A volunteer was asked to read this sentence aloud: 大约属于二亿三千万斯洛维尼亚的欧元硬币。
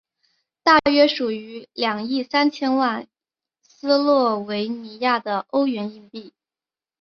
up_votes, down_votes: 2, 0